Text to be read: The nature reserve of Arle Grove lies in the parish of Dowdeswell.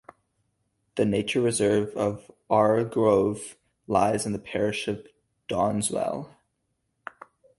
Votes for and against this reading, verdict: 4, 0, accepted